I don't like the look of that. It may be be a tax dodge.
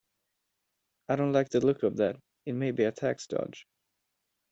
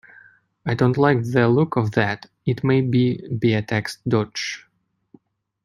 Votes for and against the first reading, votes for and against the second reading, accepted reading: 0, 2, 2, 0, second